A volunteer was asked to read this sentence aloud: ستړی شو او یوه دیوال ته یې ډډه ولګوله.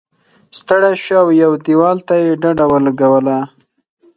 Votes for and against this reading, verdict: 4, 0, accepted